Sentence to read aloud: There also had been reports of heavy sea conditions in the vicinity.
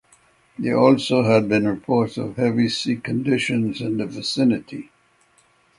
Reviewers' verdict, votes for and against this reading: accepted, 6, 0